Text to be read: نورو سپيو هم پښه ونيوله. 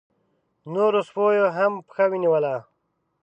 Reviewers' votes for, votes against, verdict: 2, 0, accepted